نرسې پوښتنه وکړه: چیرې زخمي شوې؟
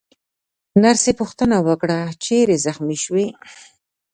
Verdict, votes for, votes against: rejected, 1, 2